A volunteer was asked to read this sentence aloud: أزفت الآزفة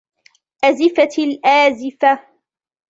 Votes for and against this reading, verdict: 2, 0, accepted